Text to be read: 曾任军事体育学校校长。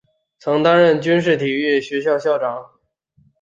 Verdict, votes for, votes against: rejected, 1, 2